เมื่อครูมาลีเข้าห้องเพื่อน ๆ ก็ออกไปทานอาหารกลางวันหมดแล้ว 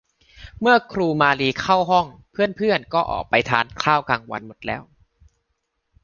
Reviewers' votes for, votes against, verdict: 0, 2, rejected